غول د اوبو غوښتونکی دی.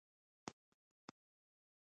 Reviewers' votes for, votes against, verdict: 2, 0, accepted